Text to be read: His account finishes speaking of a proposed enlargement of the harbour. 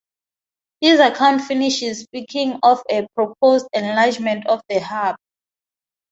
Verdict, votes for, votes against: rejected, 0, 2